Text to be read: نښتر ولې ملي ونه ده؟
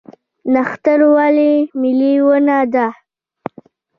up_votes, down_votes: 2, 3